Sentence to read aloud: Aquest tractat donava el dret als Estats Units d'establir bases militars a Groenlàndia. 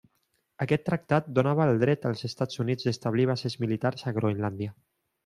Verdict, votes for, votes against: rejected, 1, 2